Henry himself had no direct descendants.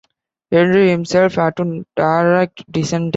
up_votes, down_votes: 0, 2